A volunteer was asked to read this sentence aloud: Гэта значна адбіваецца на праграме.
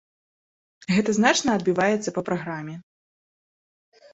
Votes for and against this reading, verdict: 0, 2, rejected